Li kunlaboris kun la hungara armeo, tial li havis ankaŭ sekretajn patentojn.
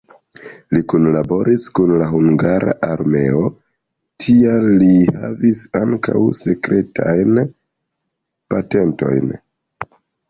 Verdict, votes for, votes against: accepted, 2, 0